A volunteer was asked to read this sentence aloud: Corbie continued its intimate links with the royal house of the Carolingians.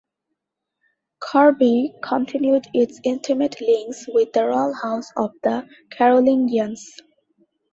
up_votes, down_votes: 2, 0